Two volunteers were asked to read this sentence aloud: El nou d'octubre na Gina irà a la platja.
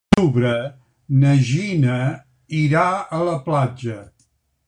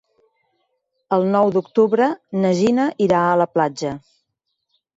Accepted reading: second